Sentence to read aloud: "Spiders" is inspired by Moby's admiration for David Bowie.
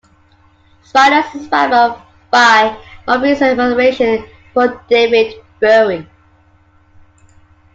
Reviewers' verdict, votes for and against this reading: rejected, 1, 2